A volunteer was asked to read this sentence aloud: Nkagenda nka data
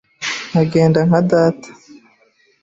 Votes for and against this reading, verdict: 2, 0, accepted